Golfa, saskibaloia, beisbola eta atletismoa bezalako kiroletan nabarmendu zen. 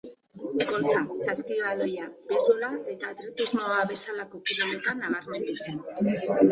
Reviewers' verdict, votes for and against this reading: rejected, 1, 2